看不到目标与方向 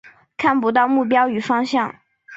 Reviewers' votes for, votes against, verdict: 4, 0, accepted